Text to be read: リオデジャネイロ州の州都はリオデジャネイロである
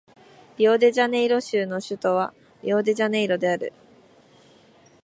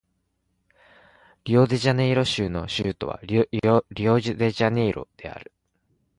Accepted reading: first